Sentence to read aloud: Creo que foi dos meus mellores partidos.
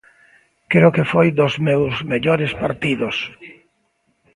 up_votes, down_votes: 2, 0